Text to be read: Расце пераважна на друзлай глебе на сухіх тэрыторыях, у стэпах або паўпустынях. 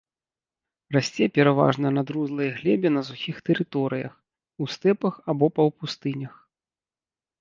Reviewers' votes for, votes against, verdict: 2, 0, accepted